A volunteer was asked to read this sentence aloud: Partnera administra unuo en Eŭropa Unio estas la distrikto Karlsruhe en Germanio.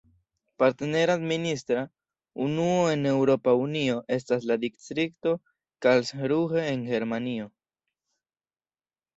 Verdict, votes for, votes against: rejected, 1, 2